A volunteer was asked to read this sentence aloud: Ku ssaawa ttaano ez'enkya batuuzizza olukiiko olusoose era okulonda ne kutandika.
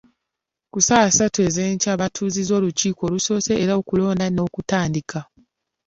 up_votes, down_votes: 0, 2